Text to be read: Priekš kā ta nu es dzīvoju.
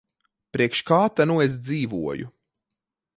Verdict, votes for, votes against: accepted, 2, 0